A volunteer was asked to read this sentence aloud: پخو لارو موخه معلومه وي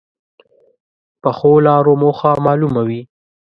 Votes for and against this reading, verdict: 2, 0, accepted